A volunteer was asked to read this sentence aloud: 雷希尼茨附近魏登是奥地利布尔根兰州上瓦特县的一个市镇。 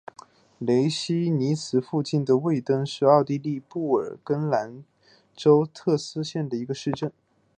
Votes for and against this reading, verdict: 1, 4, rejected